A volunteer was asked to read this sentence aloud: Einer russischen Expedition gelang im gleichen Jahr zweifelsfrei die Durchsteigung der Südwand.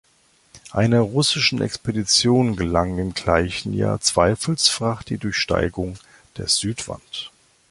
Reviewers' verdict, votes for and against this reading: rejected, 1, 2